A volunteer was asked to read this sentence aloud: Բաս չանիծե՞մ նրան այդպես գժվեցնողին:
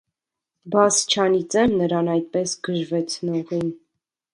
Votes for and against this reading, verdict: 2, 0, accepted